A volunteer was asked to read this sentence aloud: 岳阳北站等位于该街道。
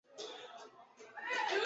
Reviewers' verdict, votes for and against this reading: rejected, 1, 3